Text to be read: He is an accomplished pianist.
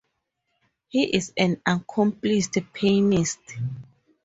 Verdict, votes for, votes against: rejected, 2, 2